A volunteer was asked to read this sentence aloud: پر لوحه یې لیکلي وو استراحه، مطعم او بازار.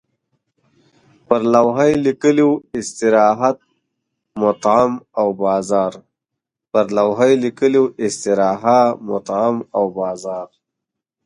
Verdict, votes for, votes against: rejected, 1, 2